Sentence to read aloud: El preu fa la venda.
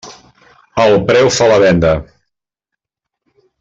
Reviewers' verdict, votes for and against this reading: accepted, 3, 0